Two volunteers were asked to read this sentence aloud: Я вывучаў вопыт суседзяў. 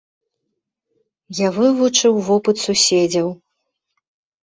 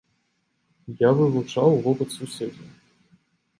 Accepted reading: second